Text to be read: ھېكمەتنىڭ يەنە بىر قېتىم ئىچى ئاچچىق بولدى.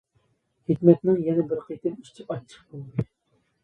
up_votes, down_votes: 0, 2